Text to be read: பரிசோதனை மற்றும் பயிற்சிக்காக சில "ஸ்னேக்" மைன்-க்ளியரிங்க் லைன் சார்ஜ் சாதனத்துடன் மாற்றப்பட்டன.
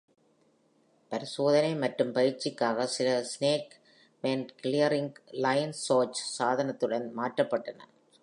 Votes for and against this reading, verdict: 1, 2, rejected